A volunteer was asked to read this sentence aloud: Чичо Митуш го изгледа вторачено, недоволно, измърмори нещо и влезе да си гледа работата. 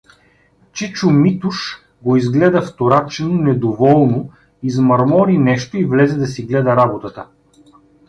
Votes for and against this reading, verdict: 2, 0, accepted